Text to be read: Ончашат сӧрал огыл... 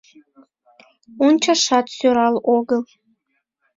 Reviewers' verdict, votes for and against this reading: accepted, 2, 0